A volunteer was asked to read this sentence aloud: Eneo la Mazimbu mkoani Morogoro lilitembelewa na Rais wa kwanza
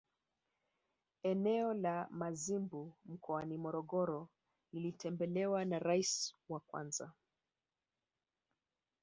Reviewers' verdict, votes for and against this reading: accepted, 2, 1